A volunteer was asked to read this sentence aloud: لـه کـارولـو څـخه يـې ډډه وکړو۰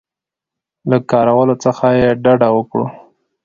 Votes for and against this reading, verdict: 0, 2, rejected